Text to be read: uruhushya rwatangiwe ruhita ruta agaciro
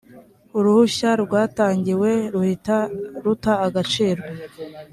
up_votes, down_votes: 2, 0